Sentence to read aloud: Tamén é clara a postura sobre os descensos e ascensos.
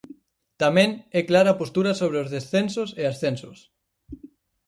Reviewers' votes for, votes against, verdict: 4, 0, accepted